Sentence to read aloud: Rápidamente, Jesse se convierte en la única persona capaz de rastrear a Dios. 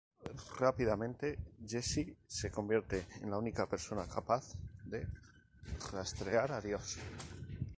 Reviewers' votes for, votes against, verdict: 4, 0, accepted